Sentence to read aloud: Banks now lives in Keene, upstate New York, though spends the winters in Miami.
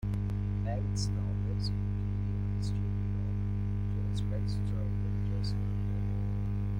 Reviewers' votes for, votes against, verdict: 0, 2, rejected